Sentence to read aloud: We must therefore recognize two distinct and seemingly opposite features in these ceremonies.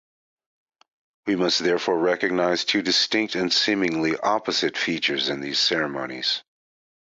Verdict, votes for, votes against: accepted, 4, 0